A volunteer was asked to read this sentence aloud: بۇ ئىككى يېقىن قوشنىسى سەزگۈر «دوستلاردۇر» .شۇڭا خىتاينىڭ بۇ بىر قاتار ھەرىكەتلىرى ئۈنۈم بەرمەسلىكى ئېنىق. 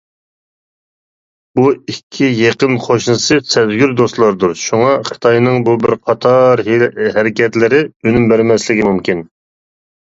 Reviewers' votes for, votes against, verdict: 1, 2, rejected